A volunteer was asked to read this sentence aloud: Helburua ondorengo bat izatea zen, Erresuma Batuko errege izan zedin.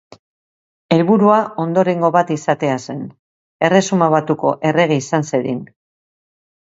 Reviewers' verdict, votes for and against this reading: accepted, 2, 0